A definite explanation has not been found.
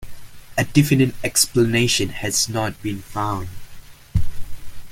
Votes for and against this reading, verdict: 1, 2, rejected